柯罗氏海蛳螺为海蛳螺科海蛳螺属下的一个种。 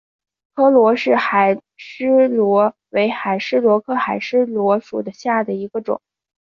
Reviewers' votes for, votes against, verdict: 4, 0, accepted